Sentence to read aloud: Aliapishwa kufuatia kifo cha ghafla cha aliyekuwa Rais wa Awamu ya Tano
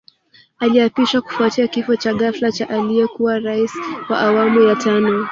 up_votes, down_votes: 0, 2